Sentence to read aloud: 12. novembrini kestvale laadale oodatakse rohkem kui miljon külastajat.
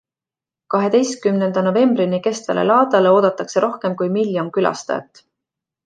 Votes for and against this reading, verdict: 0, 2, rejected